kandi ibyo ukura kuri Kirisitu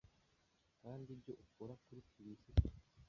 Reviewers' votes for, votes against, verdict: 1, 2, rejected